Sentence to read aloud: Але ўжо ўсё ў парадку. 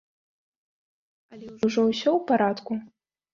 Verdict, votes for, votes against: rejected, 1, 2